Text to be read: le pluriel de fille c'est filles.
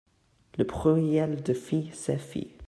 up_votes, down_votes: 0, 2